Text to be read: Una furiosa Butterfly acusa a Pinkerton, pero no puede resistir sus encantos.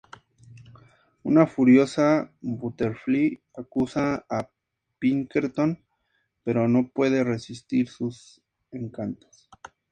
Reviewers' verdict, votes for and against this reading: accepted, 4, 0